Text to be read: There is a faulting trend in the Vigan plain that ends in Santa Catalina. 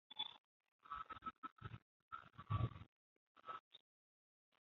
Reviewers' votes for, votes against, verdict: 0, 3, rejected